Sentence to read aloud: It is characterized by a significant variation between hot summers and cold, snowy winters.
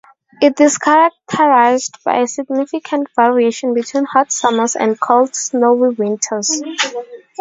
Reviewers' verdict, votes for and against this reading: accepted, 4, 0